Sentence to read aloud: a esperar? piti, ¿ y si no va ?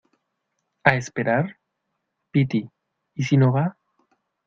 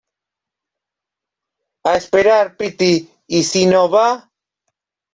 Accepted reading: first